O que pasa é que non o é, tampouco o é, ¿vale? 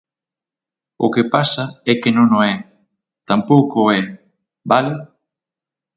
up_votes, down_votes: 6, 0